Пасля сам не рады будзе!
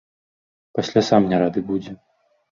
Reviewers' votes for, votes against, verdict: 1, 2, rejected